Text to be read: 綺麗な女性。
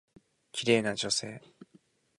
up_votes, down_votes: 2, 0